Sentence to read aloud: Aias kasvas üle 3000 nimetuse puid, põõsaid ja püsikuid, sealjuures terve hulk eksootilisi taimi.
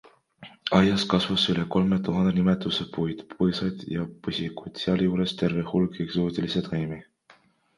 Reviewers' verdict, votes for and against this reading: rejected, 0, 2